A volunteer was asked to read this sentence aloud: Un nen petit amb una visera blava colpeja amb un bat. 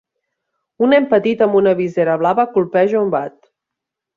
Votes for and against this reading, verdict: 0, 2, rejected